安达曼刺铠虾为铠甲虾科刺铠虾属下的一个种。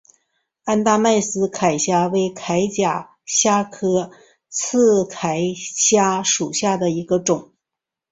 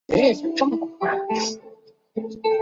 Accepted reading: first